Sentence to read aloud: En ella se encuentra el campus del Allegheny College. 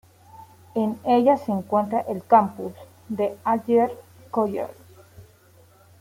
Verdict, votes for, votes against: rejected, 0, 2